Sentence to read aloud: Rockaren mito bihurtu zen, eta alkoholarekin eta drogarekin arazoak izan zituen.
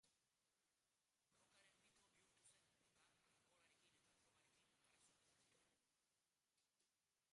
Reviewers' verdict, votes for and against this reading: rejected, 0, 2